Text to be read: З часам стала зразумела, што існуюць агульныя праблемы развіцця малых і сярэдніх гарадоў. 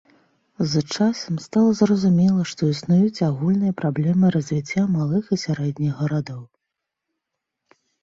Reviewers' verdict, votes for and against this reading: accepted, 2, 0